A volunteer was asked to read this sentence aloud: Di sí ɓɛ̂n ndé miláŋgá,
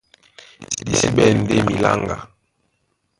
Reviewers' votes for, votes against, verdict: 0, 2, rejected